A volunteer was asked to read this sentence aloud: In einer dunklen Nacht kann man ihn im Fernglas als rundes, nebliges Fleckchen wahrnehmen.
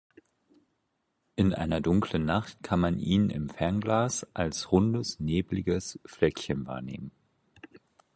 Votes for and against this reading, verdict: 4, 0, accepted